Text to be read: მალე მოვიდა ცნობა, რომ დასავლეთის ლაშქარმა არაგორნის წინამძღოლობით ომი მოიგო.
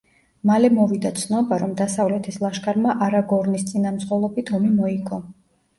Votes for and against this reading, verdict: 1, 2, rejected